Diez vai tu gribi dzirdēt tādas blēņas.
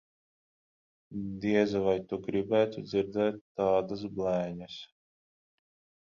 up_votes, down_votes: 0, 15